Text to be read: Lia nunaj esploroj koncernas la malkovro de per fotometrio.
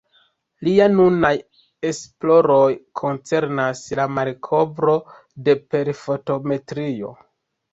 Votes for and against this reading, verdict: 0, 2, rejected